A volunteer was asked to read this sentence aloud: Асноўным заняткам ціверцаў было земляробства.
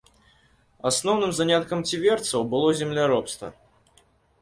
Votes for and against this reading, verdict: 2, 0, accepted